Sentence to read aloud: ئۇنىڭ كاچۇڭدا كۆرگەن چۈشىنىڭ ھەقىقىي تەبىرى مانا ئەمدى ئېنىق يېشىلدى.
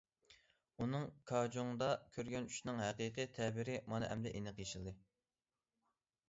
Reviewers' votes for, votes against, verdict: 1, 2, rejected